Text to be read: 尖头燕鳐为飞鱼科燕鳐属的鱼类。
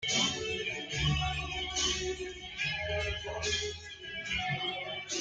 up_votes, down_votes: 0, 2